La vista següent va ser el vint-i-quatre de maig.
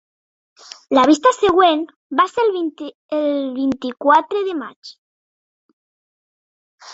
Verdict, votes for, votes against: rejected, 1, 2